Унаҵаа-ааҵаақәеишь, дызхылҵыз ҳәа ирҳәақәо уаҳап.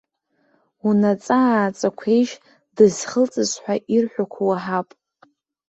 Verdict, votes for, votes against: accepted, 2, 0